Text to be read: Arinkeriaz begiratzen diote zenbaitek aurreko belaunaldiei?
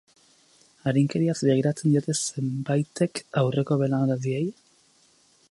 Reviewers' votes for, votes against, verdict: 2, 2, rejected